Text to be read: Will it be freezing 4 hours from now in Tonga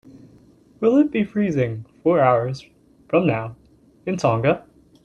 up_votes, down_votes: 0, 2